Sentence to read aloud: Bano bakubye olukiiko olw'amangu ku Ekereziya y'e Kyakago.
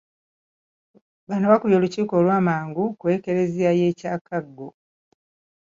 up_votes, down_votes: 2, 0